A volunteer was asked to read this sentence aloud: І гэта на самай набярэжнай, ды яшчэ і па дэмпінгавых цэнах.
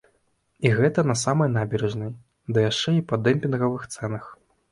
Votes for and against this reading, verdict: 0, 2, rejected